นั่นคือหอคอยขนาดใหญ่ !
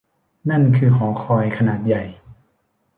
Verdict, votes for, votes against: accepted, 2, 0